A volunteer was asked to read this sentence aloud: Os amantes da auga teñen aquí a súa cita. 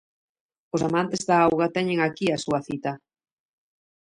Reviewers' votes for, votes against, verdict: 0, 2, rejected